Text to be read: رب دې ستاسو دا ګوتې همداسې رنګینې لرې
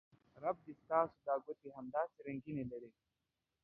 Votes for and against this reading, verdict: 2, 0, accepted